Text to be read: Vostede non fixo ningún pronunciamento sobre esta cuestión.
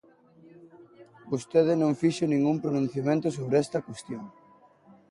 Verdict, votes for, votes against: accepted, 3, 0